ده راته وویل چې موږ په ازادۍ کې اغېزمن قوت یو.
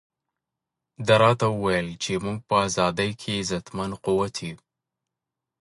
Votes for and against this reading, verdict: 2, 0, accepted